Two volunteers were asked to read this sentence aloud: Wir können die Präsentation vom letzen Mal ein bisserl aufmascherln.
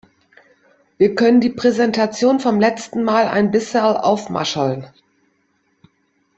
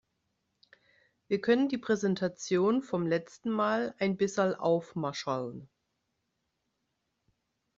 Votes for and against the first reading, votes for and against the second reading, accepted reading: 2, 1, 1, 2, first